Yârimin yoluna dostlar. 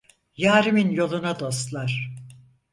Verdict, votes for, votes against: accepted, 4, 0